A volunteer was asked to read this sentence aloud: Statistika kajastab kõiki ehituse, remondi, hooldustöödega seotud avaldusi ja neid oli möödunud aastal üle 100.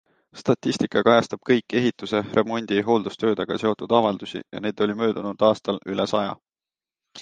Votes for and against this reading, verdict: 0, 2, rejected